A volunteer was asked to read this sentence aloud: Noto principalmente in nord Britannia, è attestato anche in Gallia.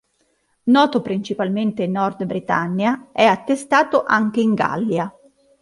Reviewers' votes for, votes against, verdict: 2, 0, accepted